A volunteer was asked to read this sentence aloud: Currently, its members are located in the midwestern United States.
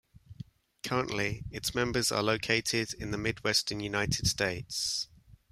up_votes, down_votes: 2, 0